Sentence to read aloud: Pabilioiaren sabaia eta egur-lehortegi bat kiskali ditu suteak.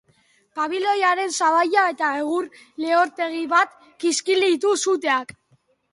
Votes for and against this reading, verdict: 1, 2, rejected